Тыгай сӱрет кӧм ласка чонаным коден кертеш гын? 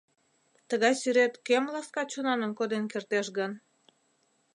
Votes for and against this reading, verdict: 2, 0, accepted